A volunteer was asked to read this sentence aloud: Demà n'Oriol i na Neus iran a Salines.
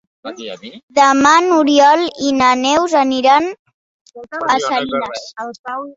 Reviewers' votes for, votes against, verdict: 1, 2, rejected